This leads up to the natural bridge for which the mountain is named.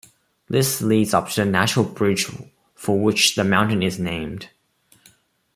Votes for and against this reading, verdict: 1, 2, rejected